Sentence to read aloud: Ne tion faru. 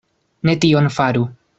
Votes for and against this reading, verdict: 2, 0, accepted